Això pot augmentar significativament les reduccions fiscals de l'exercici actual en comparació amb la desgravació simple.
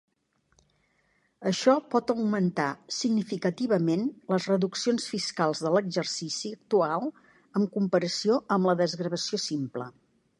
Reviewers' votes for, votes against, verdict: 3, 0, accepted